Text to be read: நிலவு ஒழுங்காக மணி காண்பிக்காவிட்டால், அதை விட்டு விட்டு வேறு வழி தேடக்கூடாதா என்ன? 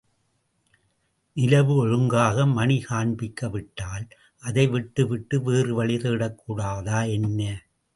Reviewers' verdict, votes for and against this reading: accepted, 2, 1